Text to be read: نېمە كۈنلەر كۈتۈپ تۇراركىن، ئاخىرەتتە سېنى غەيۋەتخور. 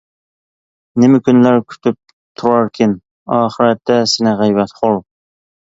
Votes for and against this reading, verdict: 2, 0, accepted